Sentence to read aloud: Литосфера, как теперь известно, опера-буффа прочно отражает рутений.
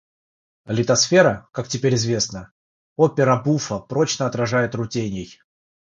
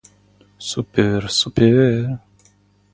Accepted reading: first